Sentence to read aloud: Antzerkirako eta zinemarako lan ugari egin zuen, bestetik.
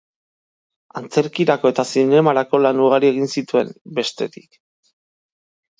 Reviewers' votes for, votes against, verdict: 0, 2, rejected